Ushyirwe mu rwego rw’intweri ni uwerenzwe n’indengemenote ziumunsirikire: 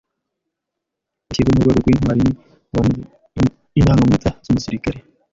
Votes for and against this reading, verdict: 0, 2, rejected